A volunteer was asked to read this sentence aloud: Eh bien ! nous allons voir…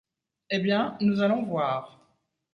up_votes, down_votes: 2, 0